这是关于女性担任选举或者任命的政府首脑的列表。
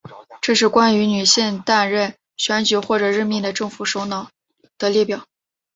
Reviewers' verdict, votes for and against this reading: accepted, 2, 0